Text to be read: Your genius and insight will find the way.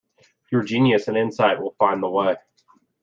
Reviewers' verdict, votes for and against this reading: accepted, 2, 0